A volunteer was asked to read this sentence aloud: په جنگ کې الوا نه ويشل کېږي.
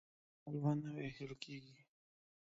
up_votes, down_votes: 0, 2